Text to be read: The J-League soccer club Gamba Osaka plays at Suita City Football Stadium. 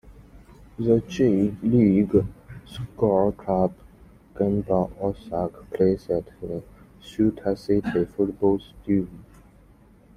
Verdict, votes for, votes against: rejected, 1, 2